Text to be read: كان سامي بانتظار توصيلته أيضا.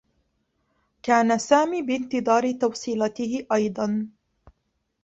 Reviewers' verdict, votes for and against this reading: rejected, 0, 2